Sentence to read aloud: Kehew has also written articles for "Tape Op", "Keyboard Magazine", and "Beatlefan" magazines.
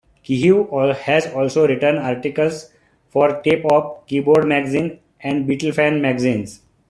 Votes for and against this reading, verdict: 2, 0, accepted